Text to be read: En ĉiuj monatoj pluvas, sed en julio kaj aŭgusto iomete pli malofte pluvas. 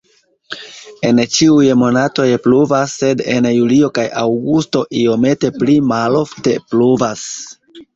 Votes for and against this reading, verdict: 2, 1, accepted